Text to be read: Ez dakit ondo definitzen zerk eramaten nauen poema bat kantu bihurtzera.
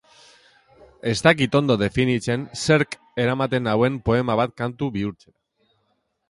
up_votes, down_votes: 0, 2